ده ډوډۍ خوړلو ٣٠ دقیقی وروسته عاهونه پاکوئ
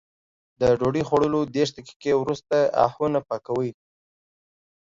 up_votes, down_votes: 0, 2